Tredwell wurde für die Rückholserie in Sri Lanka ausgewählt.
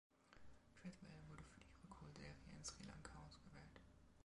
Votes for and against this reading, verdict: 0, 2, rejected